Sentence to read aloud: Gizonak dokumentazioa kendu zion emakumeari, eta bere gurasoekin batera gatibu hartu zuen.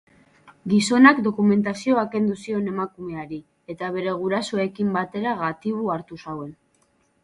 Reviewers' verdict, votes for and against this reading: accepted, 2, 0